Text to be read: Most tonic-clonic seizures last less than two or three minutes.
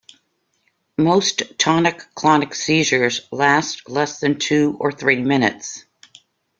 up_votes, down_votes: 2, 0